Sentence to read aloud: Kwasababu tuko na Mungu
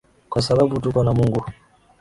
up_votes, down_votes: 6, 0